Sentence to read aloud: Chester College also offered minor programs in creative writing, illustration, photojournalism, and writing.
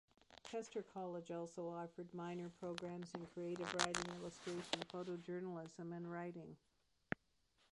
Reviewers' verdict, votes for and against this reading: rejected, 0, 2